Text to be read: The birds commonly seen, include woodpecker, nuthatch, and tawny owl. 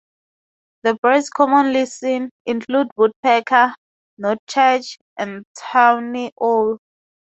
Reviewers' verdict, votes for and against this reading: accepted, 2, 0